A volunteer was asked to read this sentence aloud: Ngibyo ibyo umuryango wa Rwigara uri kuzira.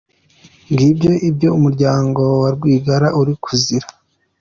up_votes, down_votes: 2, 0